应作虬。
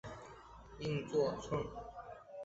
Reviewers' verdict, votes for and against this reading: rejected, 0, 2